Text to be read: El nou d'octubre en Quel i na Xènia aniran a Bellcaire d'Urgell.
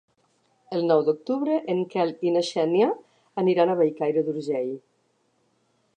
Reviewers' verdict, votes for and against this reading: accepted, 2, 0